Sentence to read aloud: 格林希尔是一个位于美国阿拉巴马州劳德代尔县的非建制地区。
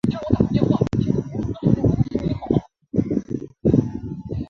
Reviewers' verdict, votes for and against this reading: rejected, 0, 2